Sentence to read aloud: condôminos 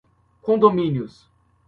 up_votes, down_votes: 2, 1